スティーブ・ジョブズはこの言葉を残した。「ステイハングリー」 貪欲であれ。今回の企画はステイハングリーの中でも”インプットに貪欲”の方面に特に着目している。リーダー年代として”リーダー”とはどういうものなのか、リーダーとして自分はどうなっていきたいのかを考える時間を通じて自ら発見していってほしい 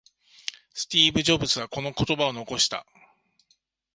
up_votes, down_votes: 1, 3